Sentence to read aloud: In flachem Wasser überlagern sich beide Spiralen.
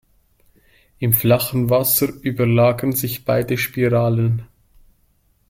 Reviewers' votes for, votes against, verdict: 0, 2, rejected